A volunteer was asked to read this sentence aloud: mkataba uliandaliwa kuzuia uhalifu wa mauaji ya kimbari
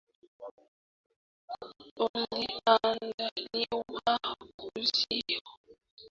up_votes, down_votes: 1, 3